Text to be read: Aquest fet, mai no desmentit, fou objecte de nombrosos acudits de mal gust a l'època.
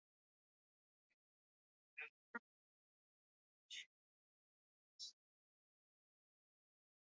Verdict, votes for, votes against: rejected, 0, 2